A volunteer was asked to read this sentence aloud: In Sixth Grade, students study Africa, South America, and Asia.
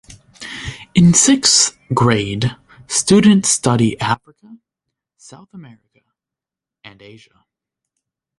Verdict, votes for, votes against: rejected, 1, 2